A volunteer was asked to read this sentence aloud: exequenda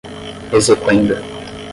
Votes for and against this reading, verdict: 5, 5, rejected